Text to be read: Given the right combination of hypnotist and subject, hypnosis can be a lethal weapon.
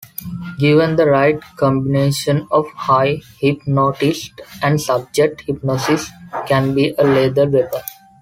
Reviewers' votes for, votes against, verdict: 1, 3, rejected